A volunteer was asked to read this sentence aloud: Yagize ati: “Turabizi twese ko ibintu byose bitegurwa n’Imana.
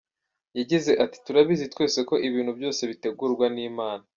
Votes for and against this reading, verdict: 2, 0, accepted